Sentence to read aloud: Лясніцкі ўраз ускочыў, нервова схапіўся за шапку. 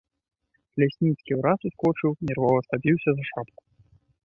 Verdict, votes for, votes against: accepted, 2, 0